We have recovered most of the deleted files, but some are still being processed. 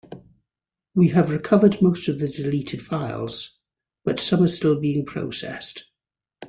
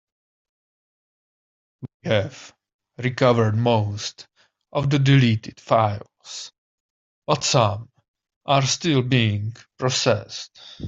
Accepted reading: first